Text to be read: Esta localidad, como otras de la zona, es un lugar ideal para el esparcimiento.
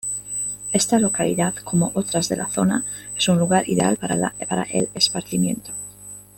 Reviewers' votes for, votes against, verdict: 0, 2, rejected